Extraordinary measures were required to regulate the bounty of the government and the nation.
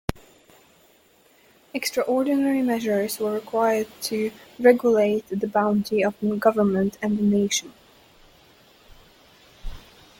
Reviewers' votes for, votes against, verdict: 2, 1, accepted